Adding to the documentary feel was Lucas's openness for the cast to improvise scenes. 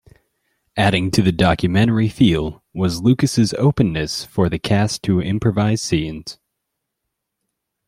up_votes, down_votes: 2, 0